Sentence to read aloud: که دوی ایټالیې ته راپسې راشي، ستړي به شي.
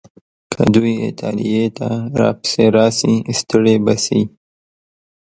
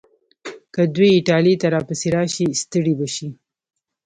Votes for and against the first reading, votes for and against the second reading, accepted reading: 2, 0, 1, 2, first